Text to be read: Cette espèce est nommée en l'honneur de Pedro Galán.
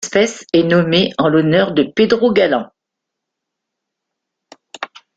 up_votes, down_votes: 1, 2